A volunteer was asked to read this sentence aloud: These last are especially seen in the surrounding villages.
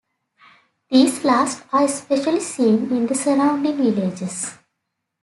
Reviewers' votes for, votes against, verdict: 2, 0, accepted